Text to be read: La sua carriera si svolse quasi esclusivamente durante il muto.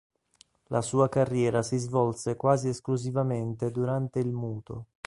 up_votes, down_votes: 2, 0